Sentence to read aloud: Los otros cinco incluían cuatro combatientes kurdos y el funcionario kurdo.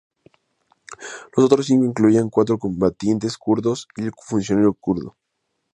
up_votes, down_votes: 2, 2